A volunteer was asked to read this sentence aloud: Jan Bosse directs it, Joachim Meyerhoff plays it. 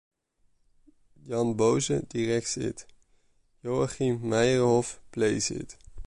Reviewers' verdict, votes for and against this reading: rejected, 0, 2